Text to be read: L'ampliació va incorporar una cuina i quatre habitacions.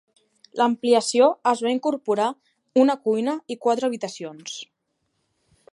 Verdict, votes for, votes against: rejected, 0, 2